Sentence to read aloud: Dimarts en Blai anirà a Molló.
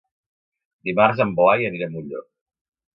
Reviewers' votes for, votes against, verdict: 3, 0, accepted